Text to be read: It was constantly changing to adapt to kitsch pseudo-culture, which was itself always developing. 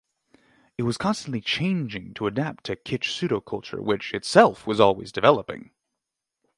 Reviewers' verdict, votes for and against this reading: rejected, 0, 6